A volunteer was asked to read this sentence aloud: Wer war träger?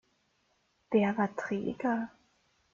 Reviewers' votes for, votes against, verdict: 1, 2, rejected